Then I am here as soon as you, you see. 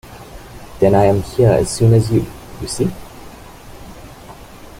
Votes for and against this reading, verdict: 2, 0, accepted